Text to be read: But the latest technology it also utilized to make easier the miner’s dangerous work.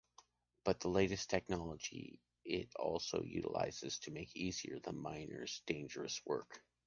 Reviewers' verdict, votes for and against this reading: rejected, 0, 2